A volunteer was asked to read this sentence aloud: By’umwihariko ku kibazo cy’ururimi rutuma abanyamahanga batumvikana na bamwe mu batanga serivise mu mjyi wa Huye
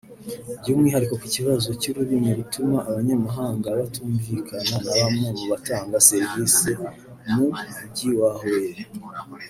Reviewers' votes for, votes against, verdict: 1, 2, rejected